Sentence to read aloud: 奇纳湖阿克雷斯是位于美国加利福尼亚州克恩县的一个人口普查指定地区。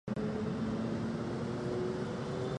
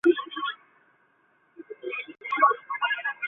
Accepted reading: second